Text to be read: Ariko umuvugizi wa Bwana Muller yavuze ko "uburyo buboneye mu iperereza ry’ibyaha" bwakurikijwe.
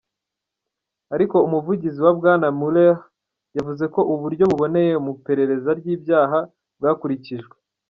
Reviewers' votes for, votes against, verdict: 1, 2, rejected